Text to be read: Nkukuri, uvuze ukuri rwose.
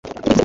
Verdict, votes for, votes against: accepted, 3, 1